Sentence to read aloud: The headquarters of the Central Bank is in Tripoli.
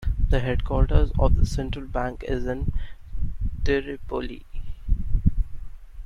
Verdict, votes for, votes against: rejected, 1, 2